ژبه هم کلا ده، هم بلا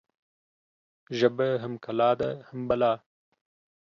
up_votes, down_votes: 2, 0